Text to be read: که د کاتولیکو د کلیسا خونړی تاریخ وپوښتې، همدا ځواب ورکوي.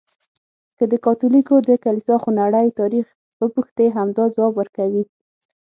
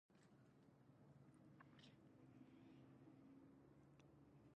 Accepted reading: first